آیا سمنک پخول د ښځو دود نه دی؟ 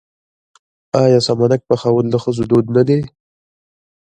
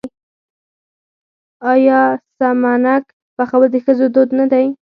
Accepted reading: second